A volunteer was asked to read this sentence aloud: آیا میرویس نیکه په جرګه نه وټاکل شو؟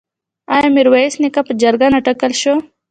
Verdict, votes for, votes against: accepted, 2, 0